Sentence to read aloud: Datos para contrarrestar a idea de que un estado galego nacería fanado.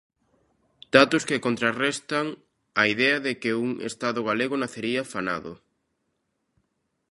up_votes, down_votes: 0, 2